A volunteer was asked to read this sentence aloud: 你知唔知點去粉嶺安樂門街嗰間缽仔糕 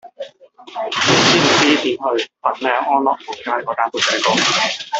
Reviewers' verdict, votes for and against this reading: rejected, 1, 2